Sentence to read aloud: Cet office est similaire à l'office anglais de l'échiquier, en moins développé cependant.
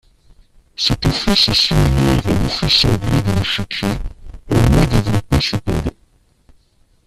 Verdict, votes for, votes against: rejected, 0, 2